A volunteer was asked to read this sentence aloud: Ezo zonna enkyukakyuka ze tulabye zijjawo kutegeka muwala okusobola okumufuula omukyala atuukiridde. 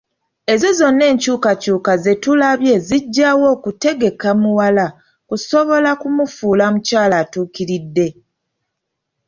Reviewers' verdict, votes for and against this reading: accepted, 3, 0